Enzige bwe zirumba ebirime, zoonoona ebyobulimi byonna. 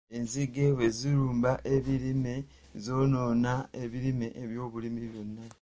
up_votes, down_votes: 0, 2